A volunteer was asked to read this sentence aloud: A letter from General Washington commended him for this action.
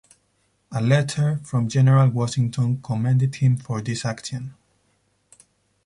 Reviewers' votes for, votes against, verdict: 4, 0, accepted